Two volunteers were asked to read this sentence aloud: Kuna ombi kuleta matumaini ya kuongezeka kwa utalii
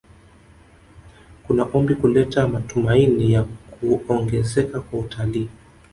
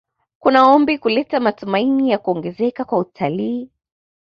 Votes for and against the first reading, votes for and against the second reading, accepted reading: 1, 2, 2, 0, second